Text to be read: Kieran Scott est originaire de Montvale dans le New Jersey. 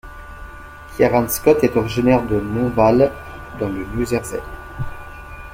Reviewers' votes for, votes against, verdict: 2, 1, accepted